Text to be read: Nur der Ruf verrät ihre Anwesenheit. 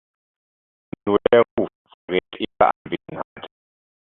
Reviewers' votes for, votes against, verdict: 0, 2, rejected